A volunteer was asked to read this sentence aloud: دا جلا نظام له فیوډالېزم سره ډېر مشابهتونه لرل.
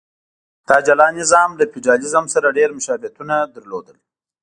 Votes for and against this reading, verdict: 2, 1, accepted